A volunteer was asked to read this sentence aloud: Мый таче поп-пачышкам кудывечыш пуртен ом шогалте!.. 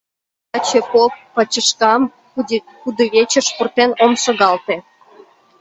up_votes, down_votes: 1, 2